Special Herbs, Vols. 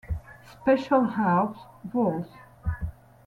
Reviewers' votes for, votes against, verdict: 0, 2, rejected